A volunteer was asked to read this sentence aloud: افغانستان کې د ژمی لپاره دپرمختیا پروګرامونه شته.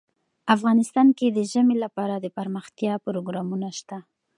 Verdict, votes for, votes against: accepted, 2, 0